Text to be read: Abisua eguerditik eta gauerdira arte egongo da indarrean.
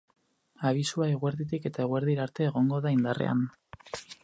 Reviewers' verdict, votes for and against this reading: rejected, 0, 2